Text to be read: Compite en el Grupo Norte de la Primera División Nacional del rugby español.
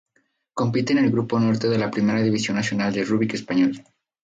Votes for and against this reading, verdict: 0, 2, rejected